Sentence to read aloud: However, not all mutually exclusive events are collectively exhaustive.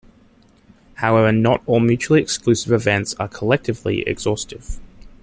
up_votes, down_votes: 2, 0